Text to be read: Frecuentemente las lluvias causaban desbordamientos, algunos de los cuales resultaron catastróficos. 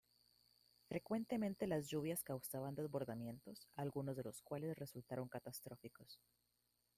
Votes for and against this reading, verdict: 0, 2, rejected